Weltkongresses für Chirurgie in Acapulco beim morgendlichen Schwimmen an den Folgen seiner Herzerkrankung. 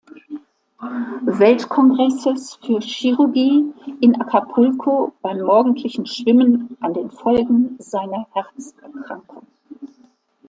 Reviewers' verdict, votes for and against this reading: rejected, 1, 2